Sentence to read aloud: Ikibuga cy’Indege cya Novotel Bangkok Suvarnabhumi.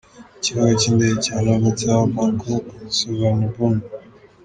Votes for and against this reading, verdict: 2, 1, accepted